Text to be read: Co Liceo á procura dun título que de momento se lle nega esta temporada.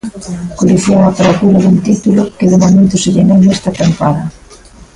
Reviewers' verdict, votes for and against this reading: rejected, 0, 2